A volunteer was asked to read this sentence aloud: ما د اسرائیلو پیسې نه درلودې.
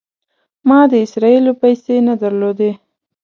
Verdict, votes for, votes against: accepted, 2, 0